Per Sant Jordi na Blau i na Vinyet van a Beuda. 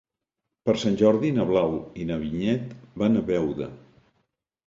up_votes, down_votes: 2, 0